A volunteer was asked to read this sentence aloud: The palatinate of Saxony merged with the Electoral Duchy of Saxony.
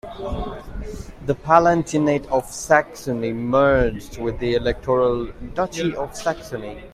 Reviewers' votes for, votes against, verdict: 2, 1, accepted